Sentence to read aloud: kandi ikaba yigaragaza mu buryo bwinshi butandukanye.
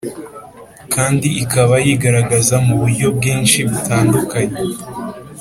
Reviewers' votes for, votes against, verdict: 4, 0, accepted